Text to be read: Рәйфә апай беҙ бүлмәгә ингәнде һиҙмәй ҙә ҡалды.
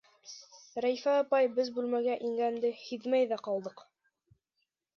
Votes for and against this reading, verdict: 1, 2, rejected